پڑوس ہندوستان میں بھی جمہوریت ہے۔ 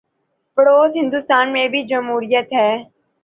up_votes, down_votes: 2, 0